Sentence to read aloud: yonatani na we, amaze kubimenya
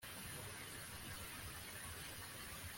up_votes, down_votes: 0, 2